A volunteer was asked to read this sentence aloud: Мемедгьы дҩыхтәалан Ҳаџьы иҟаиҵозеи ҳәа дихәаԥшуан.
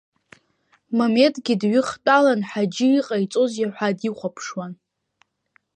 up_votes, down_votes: 2, 0